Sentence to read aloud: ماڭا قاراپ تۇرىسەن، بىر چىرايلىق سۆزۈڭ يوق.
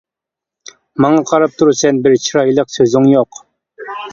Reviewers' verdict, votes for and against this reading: accepted, 2, 0